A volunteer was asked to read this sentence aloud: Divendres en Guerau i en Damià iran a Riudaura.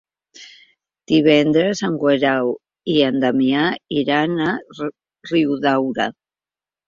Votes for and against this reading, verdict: 1, 3, rejected